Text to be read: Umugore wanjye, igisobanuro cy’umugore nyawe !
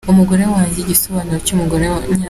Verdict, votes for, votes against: rejected, 0, 2